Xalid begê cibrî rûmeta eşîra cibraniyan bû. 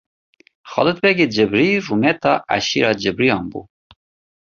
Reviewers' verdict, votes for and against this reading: accepted, 2, 0